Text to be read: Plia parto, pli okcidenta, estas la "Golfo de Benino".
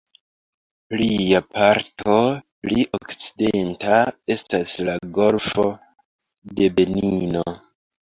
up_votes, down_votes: 1, 3